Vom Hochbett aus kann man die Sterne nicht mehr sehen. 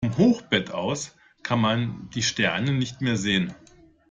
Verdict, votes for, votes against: accepted, 2, 0